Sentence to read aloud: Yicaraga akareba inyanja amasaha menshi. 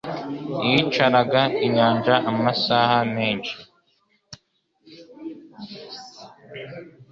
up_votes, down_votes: 1, 2